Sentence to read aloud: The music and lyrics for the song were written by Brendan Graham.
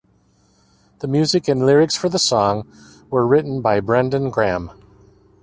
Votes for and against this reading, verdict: 2, 0, accepted